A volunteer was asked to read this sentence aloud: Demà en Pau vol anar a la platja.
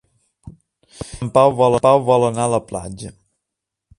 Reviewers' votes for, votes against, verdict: 1, 2, rejected